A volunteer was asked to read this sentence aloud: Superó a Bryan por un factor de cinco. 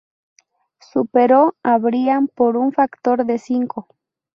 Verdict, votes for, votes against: accepted, 2, 0